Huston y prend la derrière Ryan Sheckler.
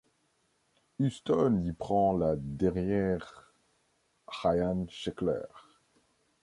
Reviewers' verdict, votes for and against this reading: accepted, 2, 1